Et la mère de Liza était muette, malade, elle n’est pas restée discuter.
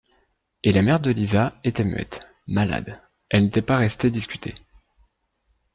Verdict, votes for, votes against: accepted, 3, 1